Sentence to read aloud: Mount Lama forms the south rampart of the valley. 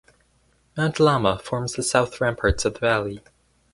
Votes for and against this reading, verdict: 2, 4, rejected